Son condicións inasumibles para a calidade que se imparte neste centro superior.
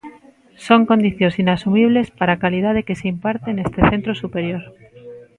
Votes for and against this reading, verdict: 1, 2, rejected